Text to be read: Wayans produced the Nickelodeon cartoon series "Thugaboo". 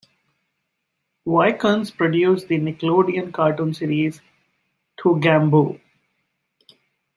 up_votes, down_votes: 1, 2